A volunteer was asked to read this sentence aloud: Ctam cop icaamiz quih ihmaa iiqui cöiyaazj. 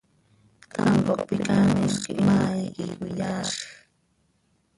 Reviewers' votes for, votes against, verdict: 0, 2, rejected